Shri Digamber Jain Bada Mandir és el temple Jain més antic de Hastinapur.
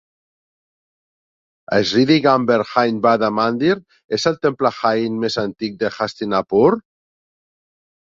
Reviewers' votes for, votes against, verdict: 0, 3, rejected